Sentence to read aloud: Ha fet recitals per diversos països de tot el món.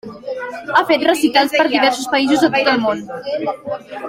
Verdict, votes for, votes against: rejected, 0, 2